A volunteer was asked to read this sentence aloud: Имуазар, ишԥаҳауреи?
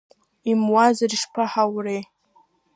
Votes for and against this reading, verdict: 0, 2, rejected